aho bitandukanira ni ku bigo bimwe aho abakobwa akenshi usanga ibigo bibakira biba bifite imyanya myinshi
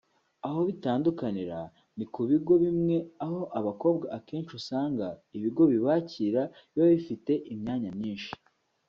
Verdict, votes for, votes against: accepted, 2, 0